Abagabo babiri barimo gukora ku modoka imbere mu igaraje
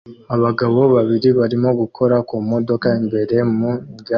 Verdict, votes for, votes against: rejected, 1, 2